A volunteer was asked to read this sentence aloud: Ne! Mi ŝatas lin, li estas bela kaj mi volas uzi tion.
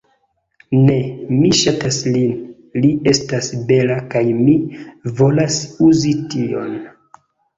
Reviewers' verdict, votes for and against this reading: rejected, 0, 2